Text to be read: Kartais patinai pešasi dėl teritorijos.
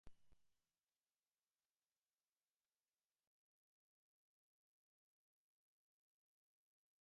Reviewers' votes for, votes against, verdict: 0, 2, rejected